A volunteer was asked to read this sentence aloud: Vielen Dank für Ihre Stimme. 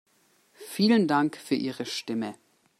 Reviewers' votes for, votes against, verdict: 2, 0, accepted